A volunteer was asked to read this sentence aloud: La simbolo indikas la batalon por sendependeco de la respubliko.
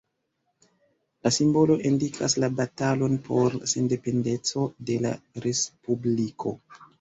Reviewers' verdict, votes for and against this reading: rejected, 1, 2